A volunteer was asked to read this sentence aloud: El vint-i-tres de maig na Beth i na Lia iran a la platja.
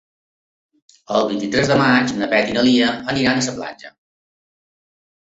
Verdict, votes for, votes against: rejected, 0, 3